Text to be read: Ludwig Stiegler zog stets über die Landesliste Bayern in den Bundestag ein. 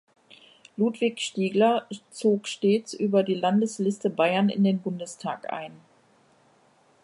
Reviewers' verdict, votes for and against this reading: accepted, 3, 0